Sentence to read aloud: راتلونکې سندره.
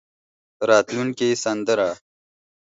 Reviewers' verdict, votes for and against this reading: accepted, 4, 0